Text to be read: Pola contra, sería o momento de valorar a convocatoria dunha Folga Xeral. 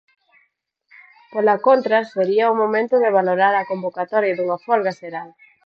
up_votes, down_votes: 4, 0